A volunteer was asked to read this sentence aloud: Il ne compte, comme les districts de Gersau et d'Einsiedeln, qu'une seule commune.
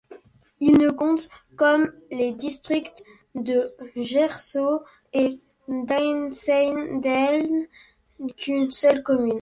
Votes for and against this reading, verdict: 2, 0, accepted